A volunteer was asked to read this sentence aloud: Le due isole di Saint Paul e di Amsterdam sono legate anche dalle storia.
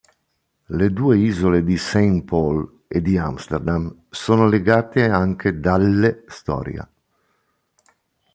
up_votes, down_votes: 2, 0